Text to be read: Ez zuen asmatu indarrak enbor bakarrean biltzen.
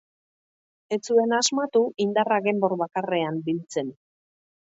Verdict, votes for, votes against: accepted, 4, 0